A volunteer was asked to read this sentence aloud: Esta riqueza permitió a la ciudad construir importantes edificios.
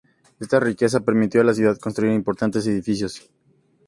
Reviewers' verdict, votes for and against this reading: accepted, 2, 0